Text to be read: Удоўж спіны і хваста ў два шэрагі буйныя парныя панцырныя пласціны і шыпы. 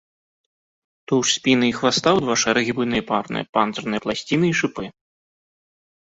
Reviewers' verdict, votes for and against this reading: rejected, 0, 2